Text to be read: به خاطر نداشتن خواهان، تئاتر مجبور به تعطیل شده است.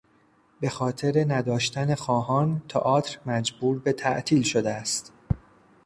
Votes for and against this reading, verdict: 2, 0, accepted